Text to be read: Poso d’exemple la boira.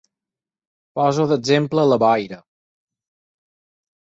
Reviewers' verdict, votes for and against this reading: accepted, 4, 0